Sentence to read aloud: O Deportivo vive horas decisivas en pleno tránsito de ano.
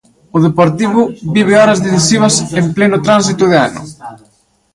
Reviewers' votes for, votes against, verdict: 1, 2, rejected